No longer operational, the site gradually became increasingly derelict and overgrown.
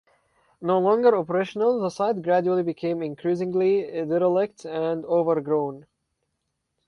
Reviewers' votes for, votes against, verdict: 2, 2, rejected